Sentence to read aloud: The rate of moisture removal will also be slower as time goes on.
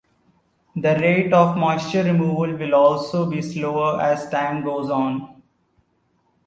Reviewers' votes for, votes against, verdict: 2, 1, accepted